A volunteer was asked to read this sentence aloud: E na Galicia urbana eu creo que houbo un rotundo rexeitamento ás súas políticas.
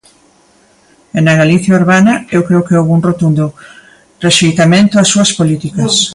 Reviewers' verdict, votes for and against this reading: rejected, 1, 2